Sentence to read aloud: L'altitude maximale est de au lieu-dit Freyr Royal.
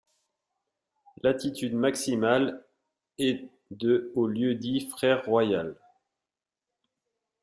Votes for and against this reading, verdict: 0, 2, rejected